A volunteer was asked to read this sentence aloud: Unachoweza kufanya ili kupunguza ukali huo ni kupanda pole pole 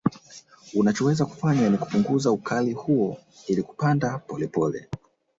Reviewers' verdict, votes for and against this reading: rejected, 1, 2